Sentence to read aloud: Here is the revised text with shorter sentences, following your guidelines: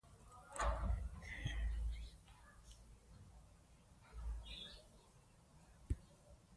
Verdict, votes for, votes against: rejected, 0, 2